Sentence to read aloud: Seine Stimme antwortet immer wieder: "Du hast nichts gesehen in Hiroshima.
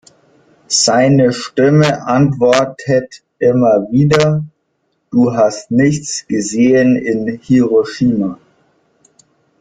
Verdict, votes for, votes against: rejected, 0, 2